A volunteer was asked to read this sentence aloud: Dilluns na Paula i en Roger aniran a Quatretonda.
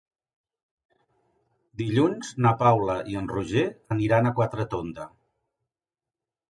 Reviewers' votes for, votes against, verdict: 2, 0, accepted